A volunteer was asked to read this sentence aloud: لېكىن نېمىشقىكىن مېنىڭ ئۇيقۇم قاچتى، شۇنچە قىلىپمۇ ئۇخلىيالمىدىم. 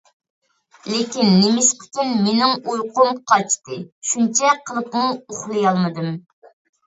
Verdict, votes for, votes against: accepted, 2, 0